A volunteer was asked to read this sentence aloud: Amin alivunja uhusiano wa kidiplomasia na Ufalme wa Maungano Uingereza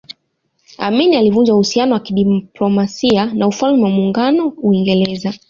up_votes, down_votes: 2, 1